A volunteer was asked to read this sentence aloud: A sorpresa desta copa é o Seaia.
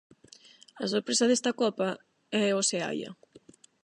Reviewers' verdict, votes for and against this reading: accepted, 8, 0